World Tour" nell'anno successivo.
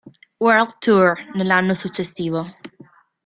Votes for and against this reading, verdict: 2, 0, accepted